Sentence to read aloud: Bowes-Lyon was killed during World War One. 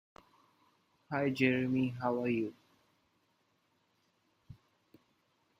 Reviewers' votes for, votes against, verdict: 0, 2, rejected